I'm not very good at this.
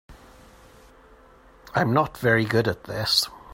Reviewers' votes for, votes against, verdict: 2, 0, accepted